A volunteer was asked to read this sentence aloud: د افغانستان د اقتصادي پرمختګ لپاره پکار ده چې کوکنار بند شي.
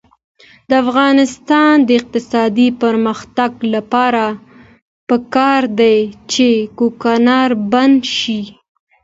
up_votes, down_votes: 2, 0